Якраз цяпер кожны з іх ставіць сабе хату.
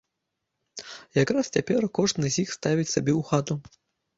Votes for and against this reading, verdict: 0, 2, rejected